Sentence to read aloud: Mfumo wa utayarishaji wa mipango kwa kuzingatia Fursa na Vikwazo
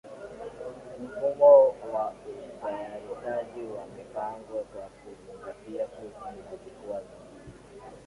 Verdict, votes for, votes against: accepted, 7, 4